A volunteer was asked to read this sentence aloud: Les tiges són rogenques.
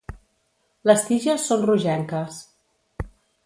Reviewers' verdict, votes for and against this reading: accepted, 2, 0